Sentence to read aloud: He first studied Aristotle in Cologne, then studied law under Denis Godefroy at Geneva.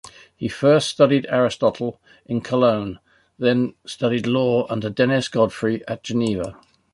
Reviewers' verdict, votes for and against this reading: accepted, 2, 0